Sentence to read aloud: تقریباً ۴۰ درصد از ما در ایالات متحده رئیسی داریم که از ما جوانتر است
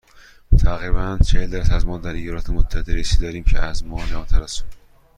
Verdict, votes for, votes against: rejected, 0, 2